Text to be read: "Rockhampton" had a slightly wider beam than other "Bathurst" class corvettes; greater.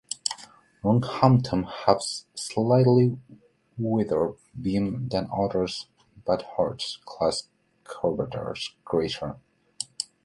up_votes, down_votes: 0, 2